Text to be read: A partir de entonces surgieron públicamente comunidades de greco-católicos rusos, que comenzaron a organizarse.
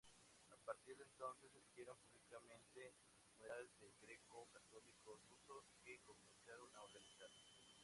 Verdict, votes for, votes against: rejected, 0, 2